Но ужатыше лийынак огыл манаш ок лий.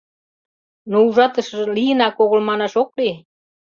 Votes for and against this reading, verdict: 0, 2, rejected